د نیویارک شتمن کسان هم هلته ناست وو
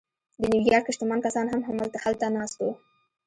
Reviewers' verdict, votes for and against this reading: accepted, 2, 0